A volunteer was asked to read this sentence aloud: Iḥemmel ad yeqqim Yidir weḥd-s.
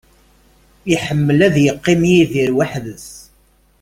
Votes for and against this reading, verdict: 2, 0, accepted